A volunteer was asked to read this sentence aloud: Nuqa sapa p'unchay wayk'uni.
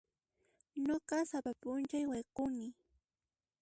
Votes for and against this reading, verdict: 1, 2, rejected